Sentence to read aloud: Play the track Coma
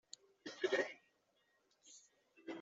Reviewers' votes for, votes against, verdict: 0, 2, rejected